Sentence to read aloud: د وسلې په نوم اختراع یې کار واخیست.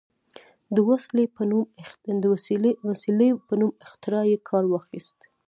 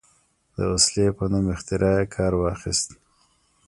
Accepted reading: first